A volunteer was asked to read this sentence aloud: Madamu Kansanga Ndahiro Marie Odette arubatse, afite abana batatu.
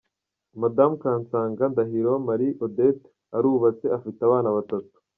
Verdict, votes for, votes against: rejected, 0, 2